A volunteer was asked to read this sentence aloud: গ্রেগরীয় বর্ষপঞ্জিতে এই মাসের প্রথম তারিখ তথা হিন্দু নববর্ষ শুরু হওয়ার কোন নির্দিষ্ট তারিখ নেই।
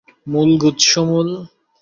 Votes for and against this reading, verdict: 0, 2, rejected